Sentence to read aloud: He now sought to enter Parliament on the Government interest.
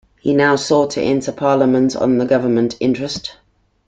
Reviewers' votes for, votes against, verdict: 2, 0, accepted